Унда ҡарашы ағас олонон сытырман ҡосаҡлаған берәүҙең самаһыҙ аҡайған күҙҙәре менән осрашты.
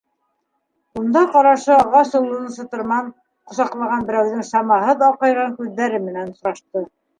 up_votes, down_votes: 0, 2